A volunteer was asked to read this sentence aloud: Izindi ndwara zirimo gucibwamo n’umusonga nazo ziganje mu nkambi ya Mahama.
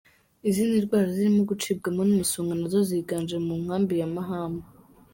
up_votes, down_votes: 2, 1